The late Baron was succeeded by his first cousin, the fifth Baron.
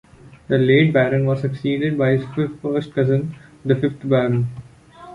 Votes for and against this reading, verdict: 1, 2, rejected